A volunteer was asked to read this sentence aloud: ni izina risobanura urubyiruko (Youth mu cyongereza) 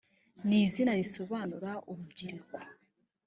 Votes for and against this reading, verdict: 0, 2, rejected